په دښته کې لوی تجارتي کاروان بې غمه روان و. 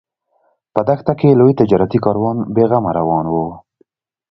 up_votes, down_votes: 2, 0